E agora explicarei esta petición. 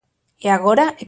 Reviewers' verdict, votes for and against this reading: rejected, 0, 2